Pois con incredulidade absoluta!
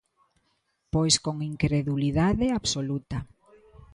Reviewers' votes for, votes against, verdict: 2, 0, accepted